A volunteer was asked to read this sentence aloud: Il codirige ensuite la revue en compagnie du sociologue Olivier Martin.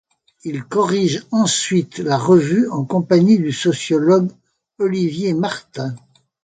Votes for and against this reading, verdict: 1, 2, rejected